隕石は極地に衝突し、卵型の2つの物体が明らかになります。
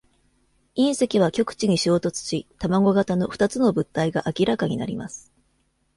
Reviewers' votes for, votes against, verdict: 0, 2, rejected